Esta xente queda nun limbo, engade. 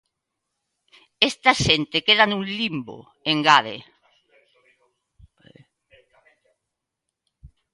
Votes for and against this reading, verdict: 1, 2, rejected